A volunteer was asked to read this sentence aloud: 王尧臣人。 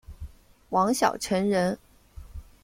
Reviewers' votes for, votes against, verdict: 1, 2, rejected